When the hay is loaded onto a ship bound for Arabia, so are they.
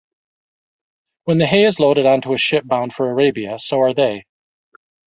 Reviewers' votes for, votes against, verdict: 2, 1, accepted